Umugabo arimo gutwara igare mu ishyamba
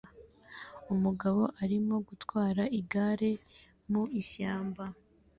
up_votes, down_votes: 2, 0